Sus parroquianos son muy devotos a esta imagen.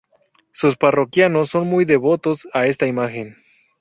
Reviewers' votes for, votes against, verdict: 2, 0, accepted